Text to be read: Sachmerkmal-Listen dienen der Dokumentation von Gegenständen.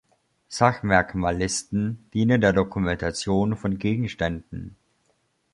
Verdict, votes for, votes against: accepted, 2, 0